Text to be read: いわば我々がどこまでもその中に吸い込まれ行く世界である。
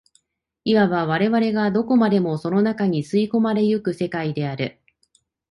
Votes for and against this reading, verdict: 2, 0, accepted